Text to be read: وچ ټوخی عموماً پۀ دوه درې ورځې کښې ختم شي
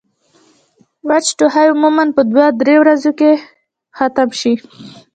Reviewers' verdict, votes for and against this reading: accepted, 2, 1